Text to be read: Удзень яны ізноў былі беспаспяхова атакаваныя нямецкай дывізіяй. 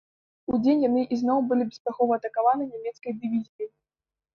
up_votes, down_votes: 1, 2